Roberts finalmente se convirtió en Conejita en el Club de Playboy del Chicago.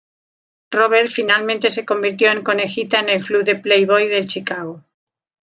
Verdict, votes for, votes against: rejected, 1, 2